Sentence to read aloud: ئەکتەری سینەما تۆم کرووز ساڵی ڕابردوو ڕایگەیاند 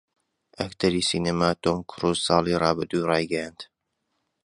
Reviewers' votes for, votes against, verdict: 2, 0, accepted